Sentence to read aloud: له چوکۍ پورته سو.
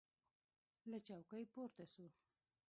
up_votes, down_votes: 1, 2